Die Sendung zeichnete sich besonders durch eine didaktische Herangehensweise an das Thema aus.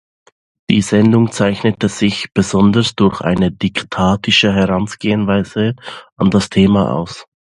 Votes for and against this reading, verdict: 1, 2, rejected